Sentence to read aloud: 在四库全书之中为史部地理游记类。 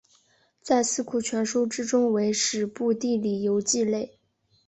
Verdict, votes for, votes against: accepted, 2, 0